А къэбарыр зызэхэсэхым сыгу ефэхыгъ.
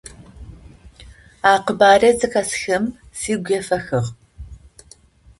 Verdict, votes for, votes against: rejected, 0, 2